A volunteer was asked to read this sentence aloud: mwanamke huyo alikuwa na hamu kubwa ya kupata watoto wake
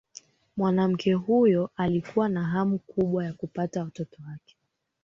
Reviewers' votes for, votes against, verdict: 4, 3, accepted